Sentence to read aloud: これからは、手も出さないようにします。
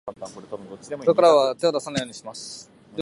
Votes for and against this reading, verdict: 3, 2, accepted